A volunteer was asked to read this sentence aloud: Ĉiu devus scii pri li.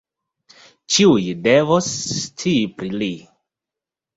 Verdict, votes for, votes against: rejected, 1, 2